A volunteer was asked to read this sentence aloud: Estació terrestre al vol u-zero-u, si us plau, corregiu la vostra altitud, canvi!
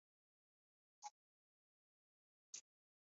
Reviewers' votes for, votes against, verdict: 0, 3, rejected